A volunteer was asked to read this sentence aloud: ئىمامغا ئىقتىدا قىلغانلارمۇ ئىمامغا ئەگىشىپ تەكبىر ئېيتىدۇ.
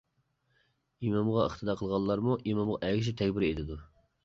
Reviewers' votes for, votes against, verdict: 2, 1, accepted